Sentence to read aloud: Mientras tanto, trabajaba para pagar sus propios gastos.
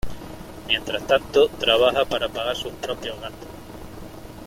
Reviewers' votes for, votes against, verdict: 0, 2, rejected